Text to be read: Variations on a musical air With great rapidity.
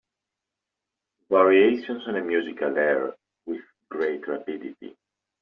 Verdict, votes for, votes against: accepted, 2, 0